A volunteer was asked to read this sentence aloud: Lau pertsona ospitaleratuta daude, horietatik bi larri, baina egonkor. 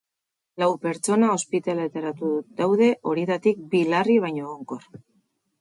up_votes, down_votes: 2, 4